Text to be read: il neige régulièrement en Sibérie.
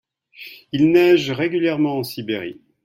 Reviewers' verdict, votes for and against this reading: accepted, 2, 0